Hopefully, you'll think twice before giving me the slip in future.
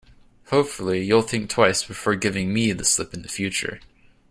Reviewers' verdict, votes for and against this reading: accepted, 2, 0